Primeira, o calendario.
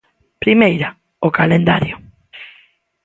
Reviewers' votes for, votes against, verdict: 2, 0, accepted